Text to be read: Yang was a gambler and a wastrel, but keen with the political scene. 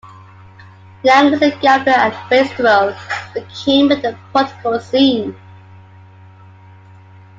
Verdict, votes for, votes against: rejected, 0, 2